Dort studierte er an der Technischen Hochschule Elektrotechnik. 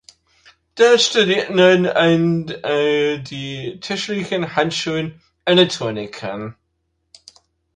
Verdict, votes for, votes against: rejected, 0, 2